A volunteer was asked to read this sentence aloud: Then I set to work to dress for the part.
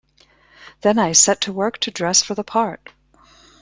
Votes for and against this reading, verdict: 2, 1, accepted